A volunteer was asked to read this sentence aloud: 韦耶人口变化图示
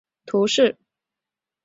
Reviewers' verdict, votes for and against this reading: rejected, 1, 2